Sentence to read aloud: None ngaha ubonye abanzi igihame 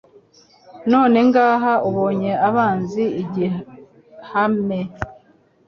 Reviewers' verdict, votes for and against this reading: accepted, 2, 0